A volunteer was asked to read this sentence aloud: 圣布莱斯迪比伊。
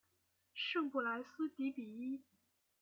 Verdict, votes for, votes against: accepted, 2, 0